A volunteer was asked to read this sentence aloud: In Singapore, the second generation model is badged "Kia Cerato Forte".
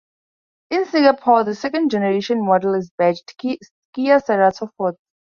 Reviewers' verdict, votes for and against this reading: rejected, 0, 4